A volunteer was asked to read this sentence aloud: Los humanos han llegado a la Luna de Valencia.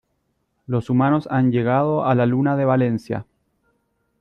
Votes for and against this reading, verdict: 2, 0, accepted